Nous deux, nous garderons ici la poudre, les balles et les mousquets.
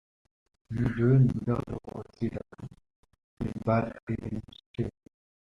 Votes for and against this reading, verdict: 0, 2, rejected